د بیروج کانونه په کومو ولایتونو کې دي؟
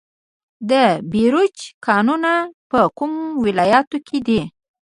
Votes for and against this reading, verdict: 1, 2, rejected